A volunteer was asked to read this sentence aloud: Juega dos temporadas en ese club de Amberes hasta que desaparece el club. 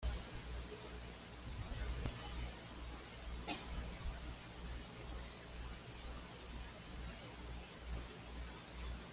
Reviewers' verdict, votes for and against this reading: rejected, 1, 2